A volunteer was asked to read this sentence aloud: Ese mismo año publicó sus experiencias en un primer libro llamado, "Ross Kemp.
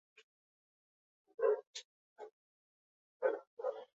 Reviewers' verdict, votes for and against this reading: rejected, 0, 2